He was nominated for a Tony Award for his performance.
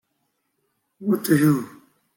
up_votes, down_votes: 0, 2